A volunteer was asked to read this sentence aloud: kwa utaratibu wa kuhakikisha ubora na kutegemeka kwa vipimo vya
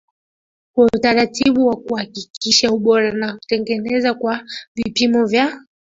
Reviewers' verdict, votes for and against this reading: accepted, 2, 1